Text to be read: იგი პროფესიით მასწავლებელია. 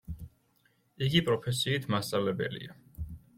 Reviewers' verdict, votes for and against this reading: accepted, 2, 0